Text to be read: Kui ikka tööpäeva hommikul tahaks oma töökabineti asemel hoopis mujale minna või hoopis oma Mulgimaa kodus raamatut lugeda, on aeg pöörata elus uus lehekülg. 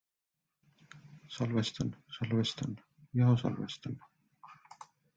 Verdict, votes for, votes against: rejected, 0, 2